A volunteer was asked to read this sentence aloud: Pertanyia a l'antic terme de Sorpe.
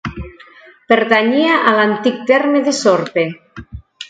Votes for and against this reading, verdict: 2, 0, accepted